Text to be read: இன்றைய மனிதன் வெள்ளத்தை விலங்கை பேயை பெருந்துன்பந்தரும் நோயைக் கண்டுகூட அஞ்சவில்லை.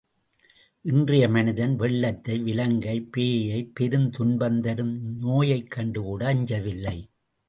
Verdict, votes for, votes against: accepted, 2, 0